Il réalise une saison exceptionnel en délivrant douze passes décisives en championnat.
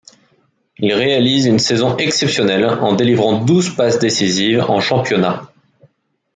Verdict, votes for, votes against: accepted, 2, 1